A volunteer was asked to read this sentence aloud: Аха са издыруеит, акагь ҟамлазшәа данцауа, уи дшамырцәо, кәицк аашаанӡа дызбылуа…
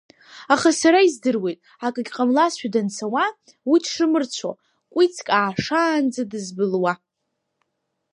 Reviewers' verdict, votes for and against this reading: rejected, 1, 2